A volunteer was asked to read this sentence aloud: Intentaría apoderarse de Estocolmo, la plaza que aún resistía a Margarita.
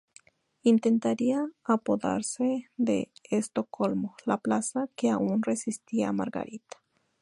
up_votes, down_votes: 0, 2